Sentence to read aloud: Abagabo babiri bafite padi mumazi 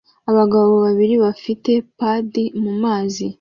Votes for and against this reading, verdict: 2, 0, accepted